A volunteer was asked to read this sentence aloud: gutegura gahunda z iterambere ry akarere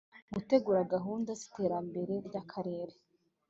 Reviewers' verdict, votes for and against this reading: accepted, 2, 0